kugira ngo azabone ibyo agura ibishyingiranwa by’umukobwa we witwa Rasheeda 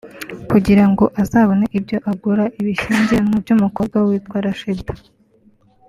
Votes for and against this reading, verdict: 0, 2, rejected